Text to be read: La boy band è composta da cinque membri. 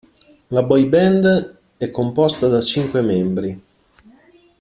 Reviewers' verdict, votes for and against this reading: accepted, 2, 0